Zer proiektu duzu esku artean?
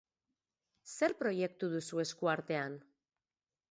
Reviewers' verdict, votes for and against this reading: accepted, 4, 0